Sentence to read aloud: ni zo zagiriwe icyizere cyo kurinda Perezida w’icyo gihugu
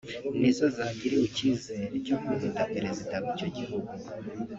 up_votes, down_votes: 2, 0